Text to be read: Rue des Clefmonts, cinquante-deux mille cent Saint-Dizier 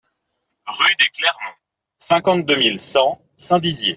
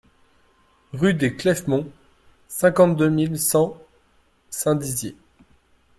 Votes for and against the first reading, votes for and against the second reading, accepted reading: 0, 2, 2, 0, second